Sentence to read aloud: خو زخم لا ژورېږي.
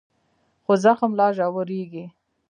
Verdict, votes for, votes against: rejected, 1, 2